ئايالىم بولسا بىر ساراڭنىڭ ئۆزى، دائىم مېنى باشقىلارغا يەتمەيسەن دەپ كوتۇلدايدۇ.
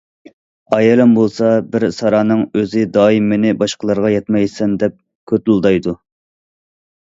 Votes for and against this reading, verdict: 2, 0, accepted